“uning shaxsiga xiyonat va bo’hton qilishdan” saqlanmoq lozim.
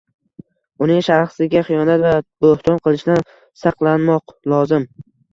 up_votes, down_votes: 1, 2